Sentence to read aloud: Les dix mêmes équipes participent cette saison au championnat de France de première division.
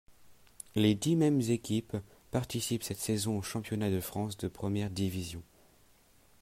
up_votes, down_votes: 2, 0